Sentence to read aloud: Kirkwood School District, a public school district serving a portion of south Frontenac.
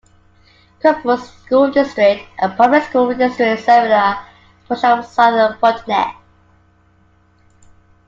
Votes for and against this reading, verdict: 1, 2, rejected